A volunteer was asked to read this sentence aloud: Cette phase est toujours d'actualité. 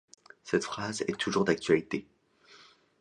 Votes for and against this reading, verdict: 1, 2, rejected